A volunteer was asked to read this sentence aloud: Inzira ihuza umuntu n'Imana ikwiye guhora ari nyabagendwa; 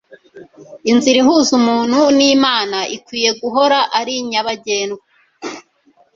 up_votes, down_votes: 1, 2